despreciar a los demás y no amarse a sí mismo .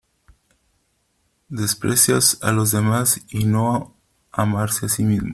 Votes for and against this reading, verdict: 0, 2, rejected